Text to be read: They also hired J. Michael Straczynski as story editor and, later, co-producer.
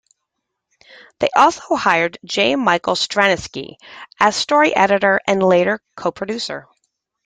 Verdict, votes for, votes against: rejected, 0, 2